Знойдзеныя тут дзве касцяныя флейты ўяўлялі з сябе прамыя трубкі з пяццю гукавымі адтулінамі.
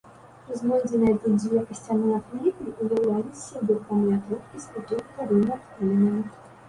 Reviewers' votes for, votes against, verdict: 0, 2, rejected